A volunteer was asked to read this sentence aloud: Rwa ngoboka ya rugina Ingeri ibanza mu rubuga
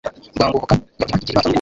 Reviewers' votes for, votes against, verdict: 1, 2, rejected